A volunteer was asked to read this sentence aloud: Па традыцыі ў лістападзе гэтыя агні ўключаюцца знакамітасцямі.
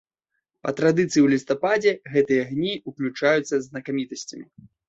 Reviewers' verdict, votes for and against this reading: accepted, 2, 0